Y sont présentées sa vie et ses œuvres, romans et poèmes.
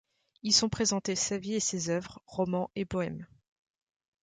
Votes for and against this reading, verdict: 3, 0, accepted